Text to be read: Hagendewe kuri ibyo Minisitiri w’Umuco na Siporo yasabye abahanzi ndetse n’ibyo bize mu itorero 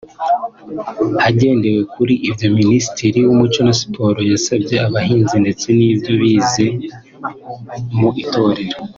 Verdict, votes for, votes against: accepted, 2, 0